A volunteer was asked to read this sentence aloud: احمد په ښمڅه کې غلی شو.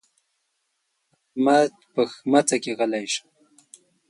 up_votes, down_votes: 2, 1